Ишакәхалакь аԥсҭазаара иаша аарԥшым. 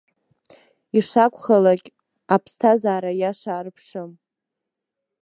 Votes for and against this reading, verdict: 0, 2, rejected